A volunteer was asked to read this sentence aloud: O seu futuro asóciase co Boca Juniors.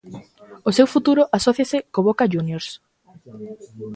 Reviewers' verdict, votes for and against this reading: rejected, 1, 2